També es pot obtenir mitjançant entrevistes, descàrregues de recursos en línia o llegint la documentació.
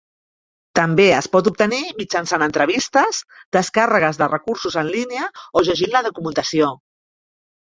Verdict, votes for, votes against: accepted, 3, 0